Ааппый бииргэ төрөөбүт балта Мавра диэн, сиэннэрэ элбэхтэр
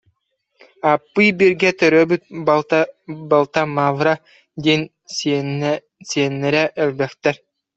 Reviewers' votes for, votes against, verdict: 0, 2, rejected